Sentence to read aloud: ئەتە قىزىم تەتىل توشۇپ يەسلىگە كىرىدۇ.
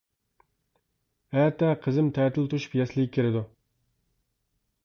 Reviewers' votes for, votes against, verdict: 1, 2, rejected